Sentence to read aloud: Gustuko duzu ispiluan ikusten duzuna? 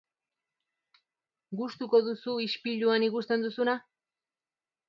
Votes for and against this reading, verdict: 2, 0, accepted